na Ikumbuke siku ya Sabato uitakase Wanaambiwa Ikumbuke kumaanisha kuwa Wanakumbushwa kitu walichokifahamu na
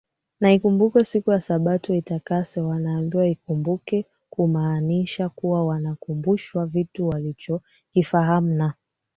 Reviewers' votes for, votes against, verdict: 2, 1, accepted